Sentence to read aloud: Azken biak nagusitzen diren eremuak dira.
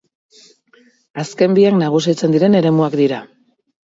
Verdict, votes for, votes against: rejected, 0, 4